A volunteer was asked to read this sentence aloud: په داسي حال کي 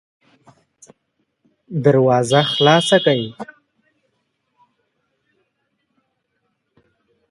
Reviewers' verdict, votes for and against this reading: rejected, 1, 2